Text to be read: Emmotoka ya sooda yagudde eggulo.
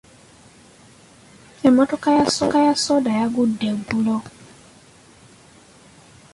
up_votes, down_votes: 1, 2